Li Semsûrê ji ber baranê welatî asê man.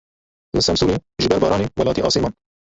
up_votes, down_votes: 1, 2